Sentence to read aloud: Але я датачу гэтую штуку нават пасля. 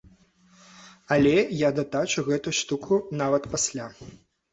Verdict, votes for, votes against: rejected, 0, 2